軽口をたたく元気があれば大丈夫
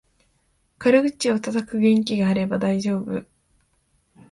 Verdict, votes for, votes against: accepted, 2, 0